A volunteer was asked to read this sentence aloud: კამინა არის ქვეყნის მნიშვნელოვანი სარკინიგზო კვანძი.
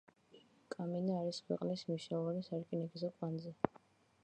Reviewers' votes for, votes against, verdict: 2, 0, accepted